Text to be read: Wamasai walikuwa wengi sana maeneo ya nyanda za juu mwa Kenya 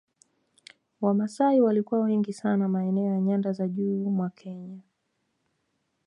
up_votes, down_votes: 2, 0